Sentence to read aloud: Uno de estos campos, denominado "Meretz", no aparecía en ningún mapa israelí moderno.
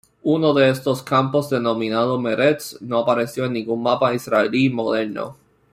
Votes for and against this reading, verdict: 0, 2, rejected